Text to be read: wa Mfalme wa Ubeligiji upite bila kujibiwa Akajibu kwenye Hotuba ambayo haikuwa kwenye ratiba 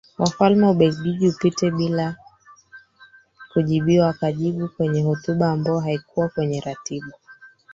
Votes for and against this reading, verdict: 1, 3, rejected